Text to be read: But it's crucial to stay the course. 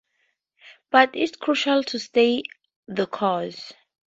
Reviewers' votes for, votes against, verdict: 10, 4, accepted